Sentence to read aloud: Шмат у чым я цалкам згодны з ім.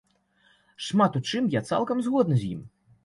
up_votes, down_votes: 2, 0